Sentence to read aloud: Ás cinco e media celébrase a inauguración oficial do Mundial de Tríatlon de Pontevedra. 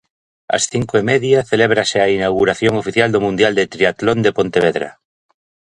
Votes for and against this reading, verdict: 2, 0, accepted